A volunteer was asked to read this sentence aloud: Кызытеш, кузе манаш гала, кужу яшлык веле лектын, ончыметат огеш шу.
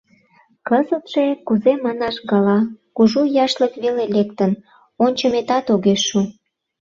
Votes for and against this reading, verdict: 0, 2, rejected